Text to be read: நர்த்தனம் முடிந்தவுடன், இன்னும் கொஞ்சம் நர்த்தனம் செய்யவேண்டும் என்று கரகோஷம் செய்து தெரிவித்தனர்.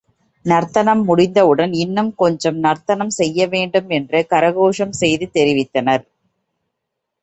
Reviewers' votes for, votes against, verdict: 2, 0, accepted